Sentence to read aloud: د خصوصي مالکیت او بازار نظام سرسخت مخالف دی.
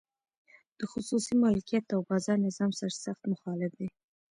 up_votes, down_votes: 2, 1